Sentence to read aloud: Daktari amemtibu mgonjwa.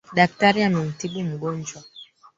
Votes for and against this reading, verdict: 2, 3, rejected